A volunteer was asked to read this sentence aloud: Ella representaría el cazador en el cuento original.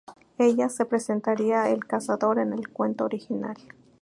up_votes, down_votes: 0, 2